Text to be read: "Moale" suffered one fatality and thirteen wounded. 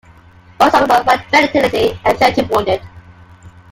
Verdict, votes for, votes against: rejected, 0, 3